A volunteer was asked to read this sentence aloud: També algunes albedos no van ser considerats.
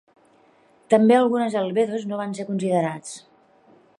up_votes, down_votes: 1, 2